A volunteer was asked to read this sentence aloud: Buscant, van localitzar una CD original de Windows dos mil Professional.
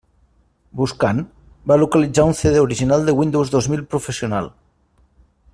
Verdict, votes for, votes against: rejected, 1, 2